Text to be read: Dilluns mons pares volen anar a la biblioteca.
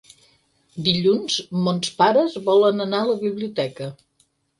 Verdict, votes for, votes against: accepted, 6, 0